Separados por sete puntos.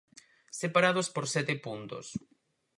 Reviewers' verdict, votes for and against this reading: accepted, 4, 0